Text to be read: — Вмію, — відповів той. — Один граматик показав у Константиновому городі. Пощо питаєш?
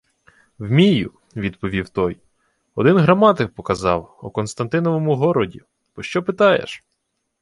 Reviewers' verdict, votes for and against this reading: accepted, 2, 0